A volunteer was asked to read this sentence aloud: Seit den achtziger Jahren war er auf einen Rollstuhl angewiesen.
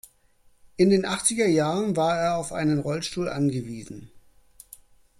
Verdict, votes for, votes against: rejected, 1, 2